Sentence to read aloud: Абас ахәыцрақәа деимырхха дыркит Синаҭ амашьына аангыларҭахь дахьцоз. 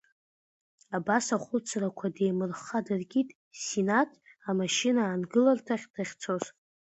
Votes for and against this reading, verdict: 2, 0, accepted